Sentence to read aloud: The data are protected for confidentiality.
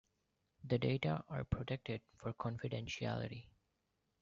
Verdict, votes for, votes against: accepted, 2, 0